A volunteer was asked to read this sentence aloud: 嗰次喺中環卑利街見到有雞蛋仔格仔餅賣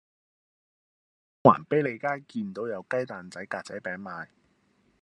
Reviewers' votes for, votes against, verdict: 1, 2, rejected